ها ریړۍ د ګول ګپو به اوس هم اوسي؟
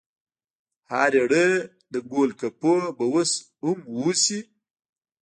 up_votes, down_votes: 2, 0